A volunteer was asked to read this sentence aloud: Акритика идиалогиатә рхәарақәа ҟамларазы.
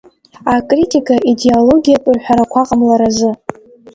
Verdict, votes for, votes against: accepted, 2, 0